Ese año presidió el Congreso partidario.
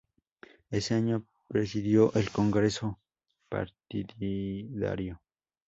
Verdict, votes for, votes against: rejected, 0, 10